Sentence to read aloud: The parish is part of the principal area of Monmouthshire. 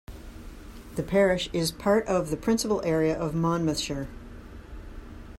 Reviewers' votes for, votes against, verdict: 3, 0, accepted